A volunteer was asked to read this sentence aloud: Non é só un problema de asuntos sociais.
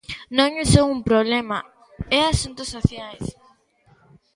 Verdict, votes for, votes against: rejected, 0, 2